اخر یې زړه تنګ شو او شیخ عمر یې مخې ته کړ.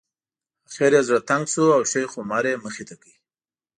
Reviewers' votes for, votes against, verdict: 2, 0, accepted